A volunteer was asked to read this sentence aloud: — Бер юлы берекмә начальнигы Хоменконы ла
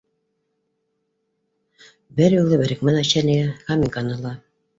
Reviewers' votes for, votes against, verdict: 2, 3, rejected